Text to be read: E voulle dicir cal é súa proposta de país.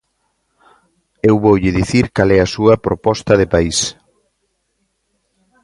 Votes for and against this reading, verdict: 0, 2, rejected